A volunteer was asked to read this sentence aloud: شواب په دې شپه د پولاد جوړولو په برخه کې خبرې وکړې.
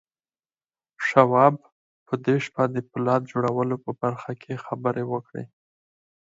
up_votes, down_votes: 2, 4